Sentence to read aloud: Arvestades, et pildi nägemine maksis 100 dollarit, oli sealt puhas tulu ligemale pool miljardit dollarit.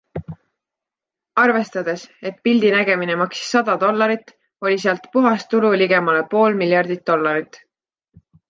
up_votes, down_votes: 0, 2